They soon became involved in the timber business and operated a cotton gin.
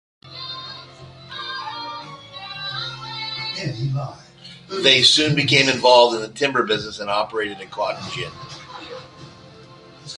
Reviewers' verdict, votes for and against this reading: accepted, 2, 1